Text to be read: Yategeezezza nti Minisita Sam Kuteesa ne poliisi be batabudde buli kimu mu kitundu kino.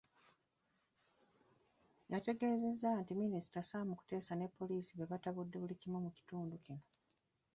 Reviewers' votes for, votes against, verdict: 1, 3, rejected